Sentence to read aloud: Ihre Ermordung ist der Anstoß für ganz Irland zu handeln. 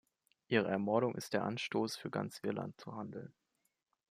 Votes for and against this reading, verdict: 2, 0, accepted